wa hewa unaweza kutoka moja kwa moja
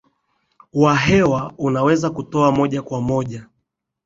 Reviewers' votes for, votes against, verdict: 7, 2, accepted